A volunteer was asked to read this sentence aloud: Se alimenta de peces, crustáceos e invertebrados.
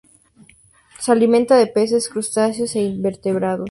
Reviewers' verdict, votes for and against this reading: accepted, 2, 0